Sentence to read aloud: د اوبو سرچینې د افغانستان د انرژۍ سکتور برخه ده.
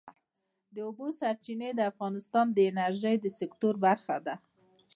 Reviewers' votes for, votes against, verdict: 2, 0, accepted